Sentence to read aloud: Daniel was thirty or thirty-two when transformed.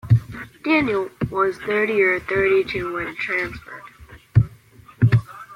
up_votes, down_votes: 2, 0